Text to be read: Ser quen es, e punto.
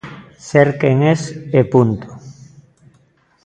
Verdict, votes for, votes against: accepted, 2, 0